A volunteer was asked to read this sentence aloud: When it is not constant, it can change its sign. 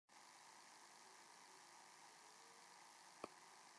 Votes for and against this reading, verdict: 0, 3, rejected